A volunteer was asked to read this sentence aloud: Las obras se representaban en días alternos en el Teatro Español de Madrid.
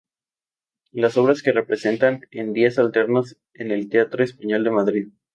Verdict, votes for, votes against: rejected, 0, 2